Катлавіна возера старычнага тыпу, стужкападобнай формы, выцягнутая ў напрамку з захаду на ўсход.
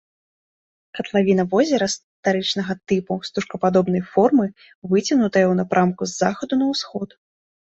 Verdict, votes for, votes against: rejected, 1, 2